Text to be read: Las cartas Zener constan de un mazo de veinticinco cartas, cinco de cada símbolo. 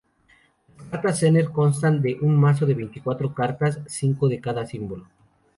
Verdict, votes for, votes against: rejected, 0, 2